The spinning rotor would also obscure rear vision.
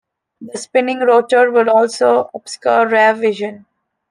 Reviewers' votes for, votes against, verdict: 2, 0, accepted